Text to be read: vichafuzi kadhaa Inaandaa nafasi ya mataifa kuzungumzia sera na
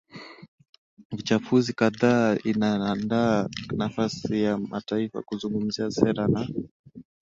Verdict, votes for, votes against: accepted, 8, 0